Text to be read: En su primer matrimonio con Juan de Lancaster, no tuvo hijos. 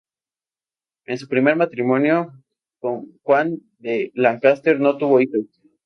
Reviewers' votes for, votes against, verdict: 2, 2, rejected